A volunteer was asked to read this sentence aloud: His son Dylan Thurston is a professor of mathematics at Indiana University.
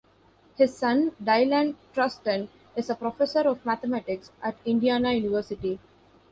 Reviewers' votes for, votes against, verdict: 1, 2, rejected